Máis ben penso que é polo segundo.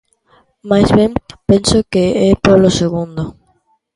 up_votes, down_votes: 2, 0